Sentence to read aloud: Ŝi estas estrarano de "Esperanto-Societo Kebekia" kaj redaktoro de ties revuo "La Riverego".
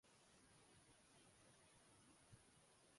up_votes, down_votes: 1, 2